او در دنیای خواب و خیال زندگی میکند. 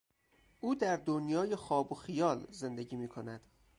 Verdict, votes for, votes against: accepted, 4, 0